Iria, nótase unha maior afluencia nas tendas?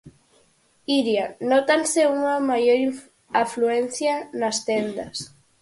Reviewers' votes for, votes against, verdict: 2, 4, rejected